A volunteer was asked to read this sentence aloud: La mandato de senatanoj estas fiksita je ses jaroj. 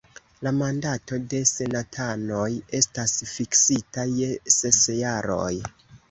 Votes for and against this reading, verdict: 2, 1, accepted